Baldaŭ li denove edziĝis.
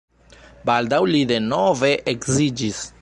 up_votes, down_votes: 1, 2